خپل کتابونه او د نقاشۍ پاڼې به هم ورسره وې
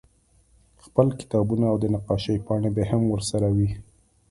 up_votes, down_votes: 2, 0